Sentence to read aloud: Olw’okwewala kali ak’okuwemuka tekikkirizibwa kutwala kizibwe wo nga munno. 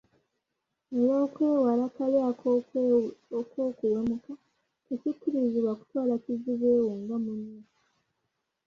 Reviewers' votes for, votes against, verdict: 1, 3, rejected